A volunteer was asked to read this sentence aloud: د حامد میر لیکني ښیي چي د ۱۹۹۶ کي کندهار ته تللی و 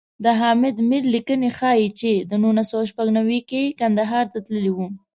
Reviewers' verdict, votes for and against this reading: rejected, 0, 2